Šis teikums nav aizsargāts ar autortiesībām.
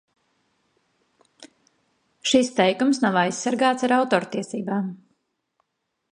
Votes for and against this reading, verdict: 2, 0, accepted